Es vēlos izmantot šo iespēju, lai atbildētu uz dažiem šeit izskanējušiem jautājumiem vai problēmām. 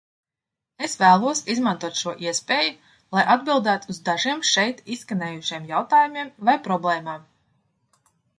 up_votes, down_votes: 2, 0